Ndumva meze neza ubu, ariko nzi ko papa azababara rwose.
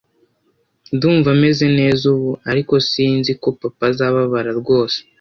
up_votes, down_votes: 1, 2